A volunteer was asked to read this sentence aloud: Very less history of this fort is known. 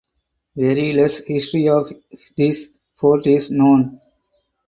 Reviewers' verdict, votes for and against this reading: accepted, 4, 2